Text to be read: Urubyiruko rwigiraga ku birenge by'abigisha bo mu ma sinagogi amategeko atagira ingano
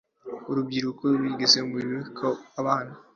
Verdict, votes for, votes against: rejected, 0, 2